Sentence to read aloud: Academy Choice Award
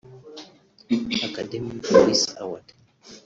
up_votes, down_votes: 1, 2